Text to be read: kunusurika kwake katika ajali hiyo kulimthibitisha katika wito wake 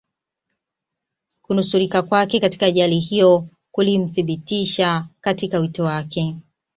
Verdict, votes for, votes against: accepted, 2, 1